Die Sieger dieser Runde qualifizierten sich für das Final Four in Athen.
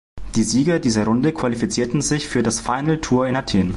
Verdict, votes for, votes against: rejected, 0, 2